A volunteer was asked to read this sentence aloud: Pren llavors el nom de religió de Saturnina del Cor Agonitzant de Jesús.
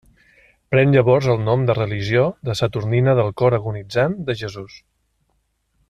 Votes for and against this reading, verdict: 3, 0, accepted